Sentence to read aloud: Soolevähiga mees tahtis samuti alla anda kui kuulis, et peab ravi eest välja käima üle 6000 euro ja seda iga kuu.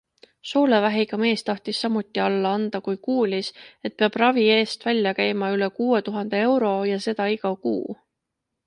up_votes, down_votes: 0, 2